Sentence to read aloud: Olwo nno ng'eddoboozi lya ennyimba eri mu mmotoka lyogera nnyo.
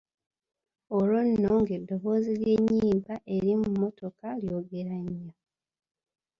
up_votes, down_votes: 1, 2